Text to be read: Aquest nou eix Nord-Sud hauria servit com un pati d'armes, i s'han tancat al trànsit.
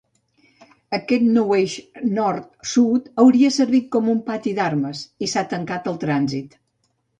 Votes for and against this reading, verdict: 1, 2, rejected